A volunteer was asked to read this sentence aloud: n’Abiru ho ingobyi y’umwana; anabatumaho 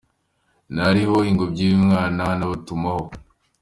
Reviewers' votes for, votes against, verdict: 2, 1, accepted